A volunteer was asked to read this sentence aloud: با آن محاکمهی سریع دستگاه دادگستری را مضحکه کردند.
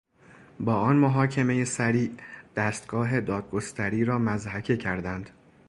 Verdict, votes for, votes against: accepted, 2, 0